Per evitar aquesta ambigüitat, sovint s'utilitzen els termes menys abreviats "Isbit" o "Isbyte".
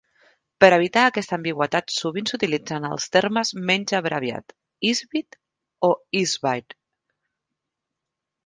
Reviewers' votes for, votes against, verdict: 3, 2, accepted